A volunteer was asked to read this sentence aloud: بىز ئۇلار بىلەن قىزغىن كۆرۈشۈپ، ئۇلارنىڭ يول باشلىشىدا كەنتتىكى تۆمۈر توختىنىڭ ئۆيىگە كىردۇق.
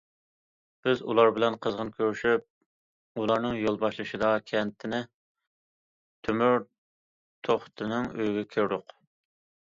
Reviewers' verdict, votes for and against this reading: rejected, 0, 2